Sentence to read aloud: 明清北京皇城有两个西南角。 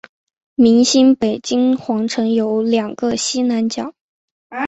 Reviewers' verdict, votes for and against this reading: accepted, 4, 1